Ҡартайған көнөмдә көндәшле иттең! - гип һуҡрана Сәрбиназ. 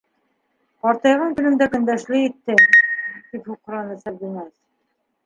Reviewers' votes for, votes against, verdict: 1, 2, rejected